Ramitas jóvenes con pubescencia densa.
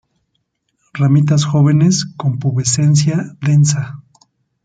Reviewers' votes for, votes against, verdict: 2, 0, accepted